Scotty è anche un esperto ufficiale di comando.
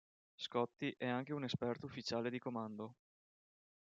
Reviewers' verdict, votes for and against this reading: accepted, 2, 0